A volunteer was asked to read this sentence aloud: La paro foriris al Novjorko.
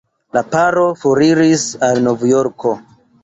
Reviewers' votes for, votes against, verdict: 2, 0, accepted